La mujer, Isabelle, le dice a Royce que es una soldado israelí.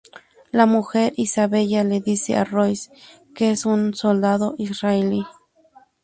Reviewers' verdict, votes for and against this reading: rejected, 0, 2